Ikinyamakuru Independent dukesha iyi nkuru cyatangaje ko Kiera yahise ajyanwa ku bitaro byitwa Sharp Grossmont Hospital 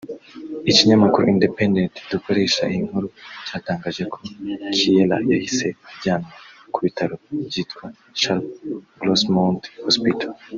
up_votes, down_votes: 0, 2